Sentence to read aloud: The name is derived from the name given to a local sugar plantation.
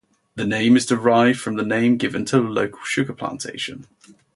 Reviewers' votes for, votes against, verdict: 0, 2, rejected